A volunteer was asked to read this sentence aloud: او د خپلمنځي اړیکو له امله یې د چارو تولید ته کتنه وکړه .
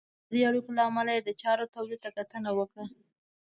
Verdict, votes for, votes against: rejected, 1, 2